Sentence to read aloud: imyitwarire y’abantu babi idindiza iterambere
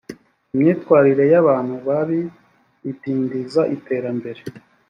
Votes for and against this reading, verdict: 2, 0, accepted